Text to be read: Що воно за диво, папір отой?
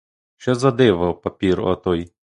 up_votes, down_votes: 1, 2